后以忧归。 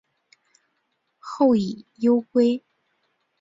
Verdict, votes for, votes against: accepted, 4, 0